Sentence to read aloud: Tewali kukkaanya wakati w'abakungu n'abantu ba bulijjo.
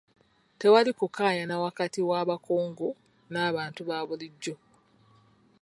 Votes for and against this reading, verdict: 1, 2, rejected